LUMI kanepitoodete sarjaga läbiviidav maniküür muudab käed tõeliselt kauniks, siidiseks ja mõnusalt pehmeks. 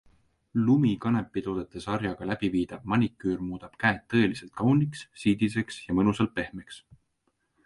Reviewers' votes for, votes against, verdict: 2, 0, accepted